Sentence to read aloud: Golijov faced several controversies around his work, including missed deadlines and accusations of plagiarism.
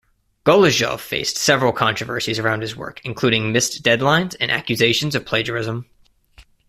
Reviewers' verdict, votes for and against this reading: accepted, 2, 0